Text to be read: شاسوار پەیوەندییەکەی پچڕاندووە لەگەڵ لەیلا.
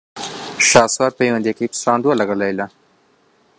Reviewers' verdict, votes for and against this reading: accepted, 2, 0